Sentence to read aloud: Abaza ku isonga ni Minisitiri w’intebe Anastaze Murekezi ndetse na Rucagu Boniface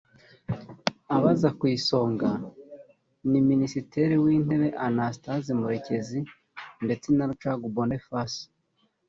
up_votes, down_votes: 1, 2